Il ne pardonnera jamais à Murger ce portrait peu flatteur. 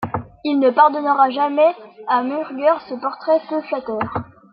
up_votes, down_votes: 0, 2